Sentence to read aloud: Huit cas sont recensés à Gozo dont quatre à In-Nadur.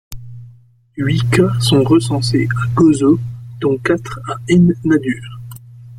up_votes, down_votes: 1, 2